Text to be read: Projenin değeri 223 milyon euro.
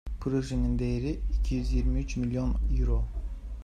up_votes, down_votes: 0, 2